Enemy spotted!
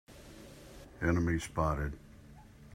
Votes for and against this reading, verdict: 2, 0, accepted